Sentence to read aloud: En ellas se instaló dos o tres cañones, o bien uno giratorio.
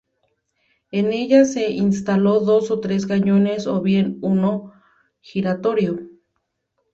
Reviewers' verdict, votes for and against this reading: accepted, 2, 0